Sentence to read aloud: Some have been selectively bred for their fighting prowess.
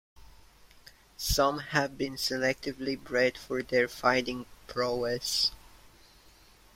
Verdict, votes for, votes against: accepted, 2, 0